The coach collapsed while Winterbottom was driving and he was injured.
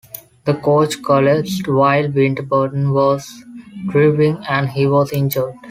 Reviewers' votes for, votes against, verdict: 1, 2, rejected